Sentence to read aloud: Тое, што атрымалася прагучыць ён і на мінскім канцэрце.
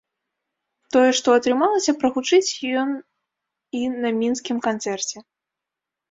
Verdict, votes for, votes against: rejected, 1, 2